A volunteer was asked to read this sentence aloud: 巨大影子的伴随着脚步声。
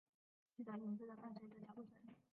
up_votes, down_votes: 0, 3